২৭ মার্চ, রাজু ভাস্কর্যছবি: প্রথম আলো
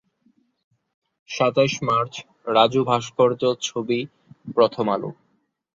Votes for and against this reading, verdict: 0, 2, rejected